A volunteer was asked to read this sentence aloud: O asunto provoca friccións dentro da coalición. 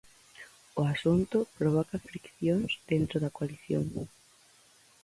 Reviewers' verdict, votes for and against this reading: accepted, 4, 2